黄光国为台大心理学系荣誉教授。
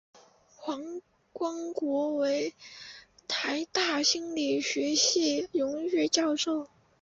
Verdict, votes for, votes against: accepted, 6, 3